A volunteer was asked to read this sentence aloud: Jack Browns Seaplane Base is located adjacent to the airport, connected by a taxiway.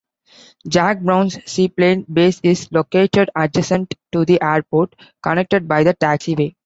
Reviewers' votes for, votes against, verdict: 0, 2, rejected